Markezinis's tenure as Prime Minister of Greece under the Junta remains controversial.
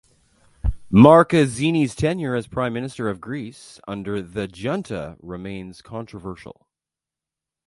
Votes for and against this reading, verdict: 2, 0, accepted